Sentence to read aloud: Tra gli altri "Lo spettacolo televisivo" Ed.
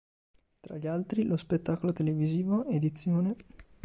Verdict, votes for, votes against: rejected, 3, 4